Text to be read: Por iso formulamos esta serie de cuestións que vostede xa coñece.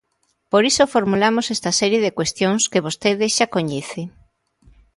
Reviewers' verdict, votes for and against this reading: accepted, 2, 0